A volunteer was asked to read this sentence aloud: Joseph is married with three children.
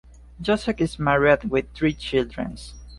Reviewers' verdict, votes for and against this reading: rejected, 1, 2